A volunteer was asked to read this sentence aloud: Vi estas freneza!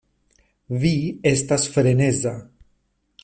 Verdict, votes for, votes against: accepted, 2, 0